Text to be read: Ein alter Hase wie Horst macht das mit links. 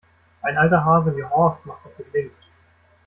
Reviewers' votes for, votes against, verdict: 1, 2, rejected